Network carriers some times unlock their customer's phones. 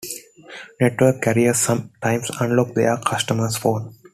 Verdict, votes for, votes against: accepted, 2, 1